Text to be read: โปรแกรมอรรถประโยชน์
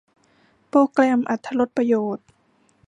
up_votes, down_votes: 0, 2